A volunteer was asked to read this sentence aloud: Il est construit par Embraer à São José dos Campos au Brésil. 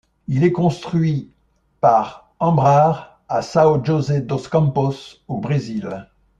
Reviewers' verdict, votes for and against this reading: rejected, 0, 2